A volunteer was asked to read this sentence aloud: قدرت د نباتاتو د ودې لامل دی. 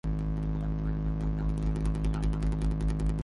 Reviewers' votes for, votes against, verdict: 0, 3, rejected